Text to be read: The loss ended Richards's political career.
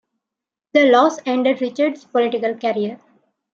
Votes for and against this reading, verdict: 2, 1, accepted